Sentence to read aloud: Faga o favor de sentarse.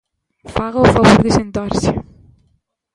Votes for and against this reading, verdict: 0, 2, rejected